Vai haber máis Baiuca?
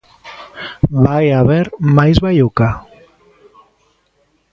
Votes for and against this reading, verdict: 1, 2, rejected